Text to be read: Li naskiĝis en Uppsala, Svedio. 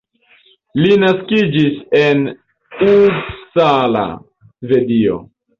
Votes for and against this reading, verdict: 1, 2, rejected